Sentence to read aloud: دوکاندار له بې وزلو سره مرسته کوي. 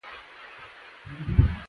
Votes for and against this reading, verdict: 0, 2, rejected